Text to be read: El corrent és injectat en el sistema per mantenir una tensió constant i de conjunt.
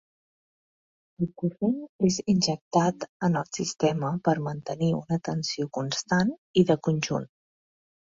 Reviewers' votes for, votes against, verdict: 1, 2, rejected